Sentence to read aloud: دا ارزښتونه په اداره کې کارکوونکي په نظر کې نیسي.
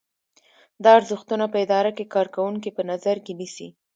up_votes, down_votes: 2, 0